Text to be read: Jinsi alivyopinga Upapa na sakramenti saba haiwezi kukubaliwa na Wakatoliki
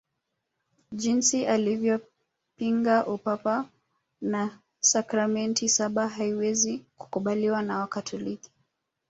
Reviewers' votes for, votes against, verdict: 2, 0, accepted